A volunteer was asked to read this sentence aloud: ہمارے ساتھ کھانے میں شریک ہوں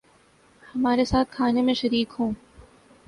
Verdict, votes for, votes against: accepted, 3, 0